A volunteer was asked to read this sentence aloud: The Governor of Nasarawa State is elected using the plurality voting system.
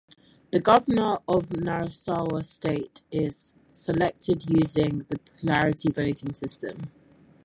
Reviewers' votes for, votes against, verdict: 0, 4, rejected